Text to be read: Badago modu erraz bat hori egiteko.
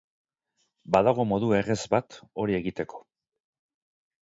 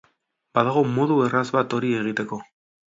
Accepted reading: second